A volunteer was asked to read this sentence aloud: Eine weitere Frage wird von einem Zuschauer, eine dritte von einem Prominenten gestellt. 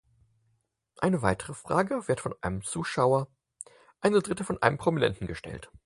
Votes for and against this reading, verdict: 4, 0, accepted